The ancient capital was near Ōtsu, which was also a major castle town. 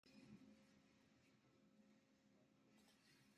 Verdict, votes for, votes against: rejected, 0, 2